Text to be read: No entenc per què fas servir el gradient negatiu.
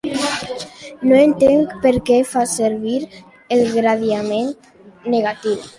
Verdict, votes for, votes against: rejected, 0, 2